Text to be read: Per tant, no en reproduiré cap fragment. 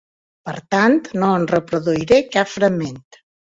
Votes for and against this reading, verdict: 3, 0, accepted